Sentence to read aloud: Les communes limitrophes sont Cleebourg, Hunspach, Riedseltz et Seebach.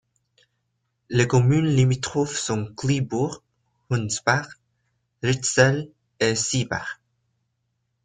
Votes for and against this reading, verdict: 1, 2, rejected